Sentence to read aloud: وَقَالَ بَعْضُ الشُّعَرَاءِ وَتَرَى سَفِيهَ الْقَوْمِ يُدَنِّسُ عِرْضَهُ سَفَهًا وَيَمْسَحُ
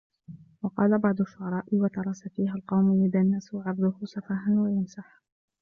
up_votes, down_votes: 0, 2